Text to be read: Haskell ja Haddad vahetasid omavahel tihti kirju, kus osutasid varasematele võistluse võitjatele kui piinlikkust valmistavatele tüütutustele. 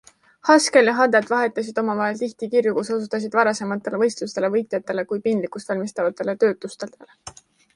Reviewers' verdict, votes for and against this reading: rejected, 0, 2